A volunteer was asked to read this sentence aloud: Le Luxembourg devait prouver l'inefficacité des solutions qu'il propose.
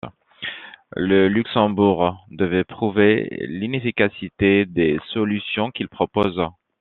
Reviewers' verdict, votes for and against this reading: accepted, 2, 0